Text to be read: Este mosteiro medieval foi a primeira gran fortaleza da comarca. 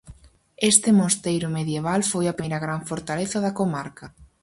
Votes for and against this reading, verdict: 2, 2, rejected